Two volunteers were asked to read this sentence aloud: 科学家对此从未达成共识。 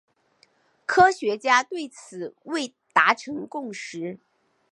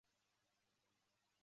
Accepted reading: first